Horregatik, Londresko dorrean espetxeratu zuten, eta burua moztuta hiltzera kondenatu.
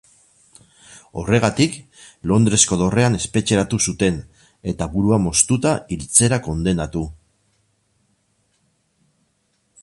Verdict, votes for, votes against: rejected, 2, 2